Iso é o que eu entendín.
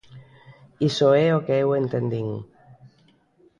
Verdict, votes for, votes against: accepted, 2, 0